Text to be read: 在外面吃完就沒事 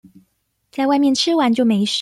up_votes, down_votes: 0, 2